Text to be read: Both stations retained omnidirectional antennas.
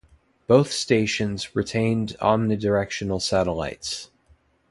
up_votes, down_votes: 0, 2